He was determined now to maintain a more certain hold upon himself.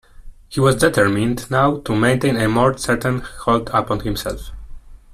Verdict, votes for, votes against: accepted, 2, 0